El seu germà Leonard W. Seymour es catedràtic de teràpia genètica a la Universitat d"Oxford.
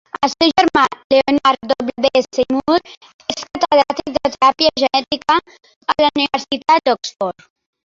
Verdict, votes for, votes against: rejected, 0, 2